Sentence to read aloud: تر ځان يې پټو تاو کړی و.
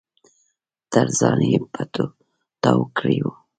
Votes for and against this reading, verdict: 0, 2, rejected